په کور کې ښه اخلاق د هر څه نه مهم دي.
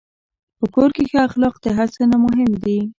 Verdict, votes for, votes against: accepted, 2, 1